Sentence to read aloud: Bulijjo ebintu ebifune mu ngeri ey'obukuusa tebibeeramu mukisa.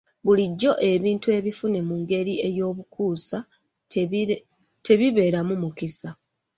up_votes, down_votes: 2, 3